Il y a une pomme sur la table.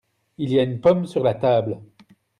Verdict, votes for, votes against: accepted, 2, 0